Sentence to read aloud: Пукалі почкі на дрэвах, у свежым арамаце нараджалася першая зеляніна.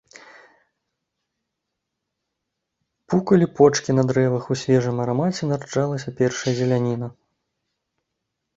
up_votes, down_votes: 1, 2